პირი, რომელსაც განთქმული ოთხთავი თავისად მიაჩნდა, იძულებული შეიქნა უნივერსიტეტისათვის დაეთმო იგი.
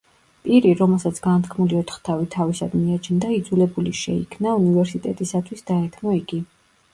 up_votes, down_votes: 2, 0